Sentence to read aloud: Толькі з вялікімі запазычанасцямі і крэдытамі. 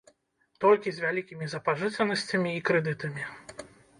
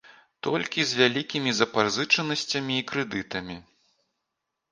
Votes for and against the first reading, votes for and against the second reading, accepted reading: 0, 2, 2, 0, second